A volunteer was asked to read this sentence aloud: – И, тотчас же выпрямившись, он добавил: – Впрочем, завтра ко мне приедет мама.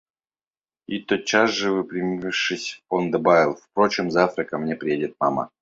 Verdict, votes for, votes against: rejected, 0, 2